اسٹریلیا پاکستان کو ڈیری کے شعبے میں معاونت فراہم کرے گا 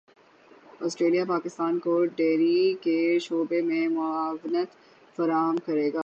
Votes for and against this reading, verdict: 6, 0, accepted